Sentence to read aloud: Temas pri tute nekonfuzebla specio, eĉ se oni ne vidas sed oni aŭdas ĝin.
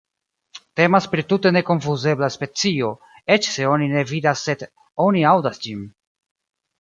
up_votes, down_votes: 3, 0